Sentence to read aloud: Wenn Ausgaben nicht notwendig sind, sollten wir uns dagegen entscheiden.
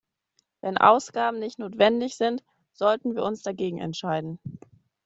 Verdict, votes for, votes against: accepted, 2, 0